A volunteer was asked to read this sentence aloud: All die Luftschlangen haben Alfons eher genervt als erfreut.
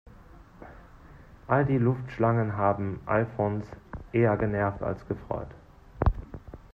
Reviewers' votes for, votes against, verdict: 0, 2, rejected